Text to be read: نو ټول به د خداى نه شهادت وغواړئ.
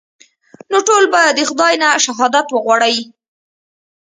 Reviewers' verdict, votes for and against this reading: accepted, 2, 1